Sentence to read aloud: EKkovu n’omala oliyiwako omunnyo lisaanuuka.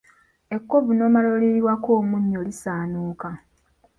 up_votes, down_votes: 2, 1